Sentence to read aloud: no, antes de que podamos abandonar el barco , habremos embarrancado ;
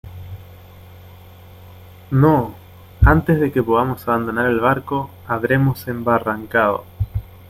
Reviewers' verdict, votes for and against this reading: accepted, 2, 0